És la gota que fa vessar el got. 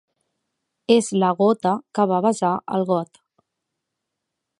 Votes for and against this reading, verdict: 1, 2, rejected